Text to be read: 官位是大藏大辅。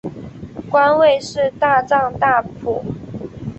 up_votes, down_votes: 3, 0